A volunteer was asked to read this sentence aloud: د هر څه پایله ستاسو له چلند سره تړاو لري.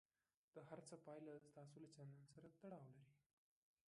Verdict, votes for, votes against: rejected, 1, 2